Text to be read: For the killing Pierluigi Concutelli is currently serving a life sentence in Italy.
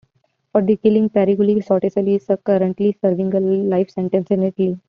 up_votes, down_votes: 0, 2